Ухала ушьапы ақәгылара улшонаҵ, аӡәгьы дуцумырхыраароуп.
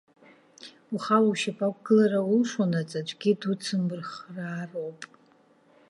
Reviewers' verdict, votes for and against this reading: accepted, 2, 0